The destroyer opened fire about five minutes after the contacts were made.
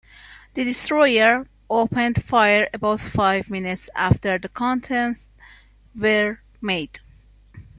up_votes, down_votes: 1, 2